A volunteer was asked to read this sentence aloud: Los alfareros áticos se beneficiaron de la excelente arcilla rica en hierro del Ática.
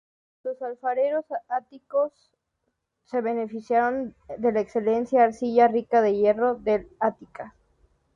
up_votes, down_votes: 2, 0